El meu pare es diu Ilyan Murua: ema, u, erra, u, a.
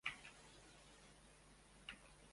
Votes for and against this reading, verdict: 0, 2, rejected